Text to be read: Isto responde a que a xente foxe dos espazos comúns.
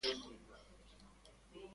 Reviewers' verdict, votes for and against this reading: rejected, 0, 3